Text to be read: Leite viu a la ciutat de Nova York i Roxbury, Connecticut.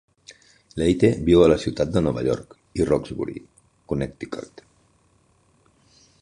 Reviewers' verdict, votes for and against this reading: rejected, 1, 2